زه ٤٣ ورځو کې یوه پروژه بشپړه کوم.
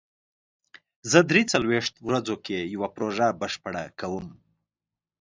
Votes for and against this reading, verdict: 0, 2, rejected